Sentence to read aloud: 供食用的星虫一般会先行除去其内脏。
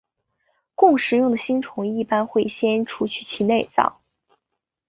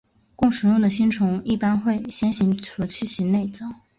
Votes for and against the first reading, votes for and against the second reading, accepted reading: 0, 2, 5, 0, second